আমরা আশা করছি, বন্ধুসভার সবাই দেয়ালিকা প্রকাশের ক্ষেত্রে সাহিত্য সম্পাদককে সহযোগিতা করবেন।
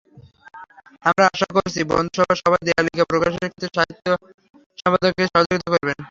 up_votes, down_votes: 3, 0